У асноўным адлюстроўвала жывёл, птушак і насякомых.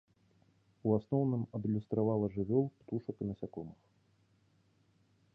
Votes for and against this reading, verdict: 0, 3, rejected